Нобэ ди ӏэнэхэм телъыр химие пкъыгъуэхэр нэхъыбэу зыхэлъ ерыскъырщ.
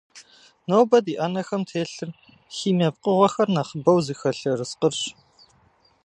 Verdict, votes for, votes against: accepted, 2, 0